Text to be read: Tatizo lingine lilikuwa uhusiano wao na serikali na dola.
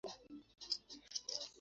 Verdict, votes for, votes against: rejected, 2, 8